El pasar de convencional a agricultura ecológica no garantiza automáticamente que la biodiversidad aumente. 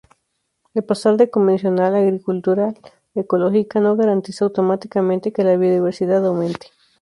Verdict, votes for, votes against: rejected, 0, 2